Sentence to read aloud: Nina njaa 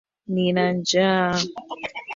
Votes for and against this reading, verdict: 0, 2, rejected